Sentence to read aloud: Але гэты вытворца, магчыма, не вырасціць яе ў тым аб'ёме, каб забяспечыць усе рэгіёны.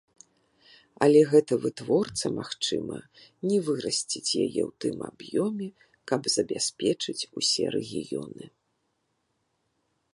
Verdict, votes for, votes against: rejected, 1, 2